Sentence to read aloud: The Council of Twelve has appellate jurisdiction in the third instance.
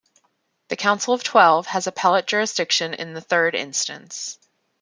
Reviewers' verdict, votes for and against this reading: accepted, 2, 0